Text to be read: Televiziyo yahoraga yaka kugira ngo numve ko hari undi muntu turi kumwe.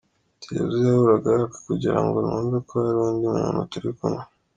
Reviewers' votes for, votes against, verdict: 2, 1, accepted